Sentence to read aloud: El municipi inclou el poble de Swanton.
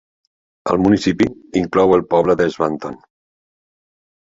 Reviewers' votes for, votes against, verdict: 2, 0, accepted